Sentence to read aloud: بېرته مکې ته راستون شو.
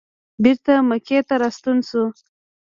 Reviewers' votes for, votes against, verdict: 1, 2, rejected